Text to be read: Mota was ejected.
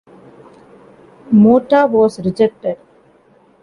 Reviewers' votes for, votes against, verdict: 0, 2, rejected